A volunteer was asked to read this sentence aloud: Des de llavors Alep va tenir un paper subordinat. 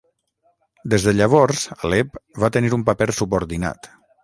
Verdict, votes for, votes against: rejected, 3, 3